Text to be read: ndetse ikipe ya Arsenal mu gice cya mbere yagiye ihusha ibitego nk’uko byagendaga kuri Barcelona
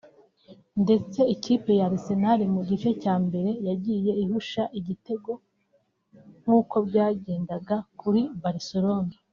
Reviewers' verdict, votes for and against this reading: rejected, 1, 2